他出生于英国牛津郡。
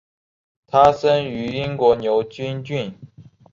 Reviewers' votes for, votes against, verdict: 4, 1, accepted